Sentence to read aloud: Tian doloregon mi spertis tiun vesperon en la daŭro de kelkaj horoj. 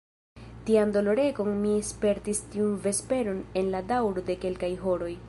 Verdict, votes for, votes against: rejected, 1, 2